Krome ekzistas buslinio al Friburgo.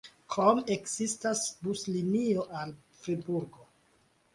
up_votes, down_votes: 1, 2